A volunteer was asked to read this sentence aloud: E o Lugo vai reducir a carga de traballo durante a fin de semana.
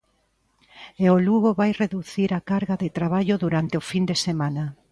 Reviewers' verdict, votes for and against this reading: rejected, 1, 2